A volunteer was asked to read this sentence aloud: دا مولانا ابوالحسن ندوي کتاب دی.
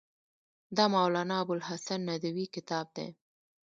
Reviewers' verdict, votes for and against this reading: rejected, 0, 2